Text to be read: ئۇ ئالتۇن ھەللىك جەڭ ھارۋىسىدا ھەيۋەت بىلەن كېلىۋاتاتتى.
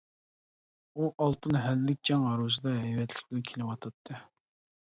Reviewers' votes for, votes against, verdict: 0, 2, rejected